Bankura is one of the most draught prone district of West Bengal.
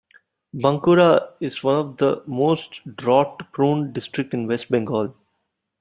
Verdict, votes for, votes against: rejected, 0, 2